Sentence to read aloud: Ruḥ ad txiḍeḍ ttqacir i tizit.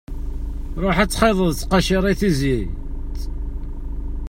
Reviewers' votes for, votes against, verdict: 2, 0, accepted